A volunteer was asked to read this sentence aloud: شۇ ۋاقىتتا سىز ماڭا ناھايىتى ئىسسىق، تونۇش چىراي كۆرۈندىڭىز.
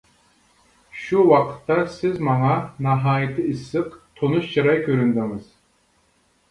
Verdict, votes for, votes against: accepted, 2, 0